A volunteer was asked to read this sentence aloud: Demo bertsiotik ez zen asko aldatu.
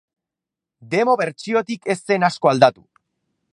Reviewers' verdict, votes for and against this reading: accepted, 6, 2